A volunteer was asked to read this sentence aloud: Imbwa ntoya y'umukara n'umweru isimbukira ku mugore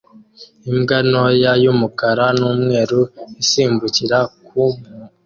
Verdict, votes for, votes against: rejected, 1, 2